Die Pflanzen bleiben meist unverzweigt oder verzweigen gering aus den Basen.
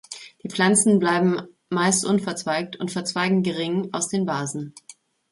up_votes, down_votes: 0, 2